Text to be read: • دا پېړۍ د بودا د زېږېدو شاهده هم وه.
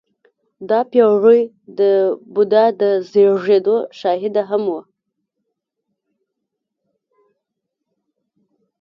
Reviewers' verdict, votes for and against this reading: rejected, 0, 2